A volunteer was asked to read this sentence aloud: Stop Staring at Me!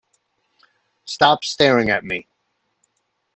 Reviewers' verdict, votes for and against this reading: accepted, 2, 0